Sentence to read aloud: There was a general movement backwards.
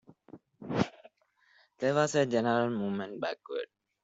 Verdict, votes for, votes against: rejected, 1, 2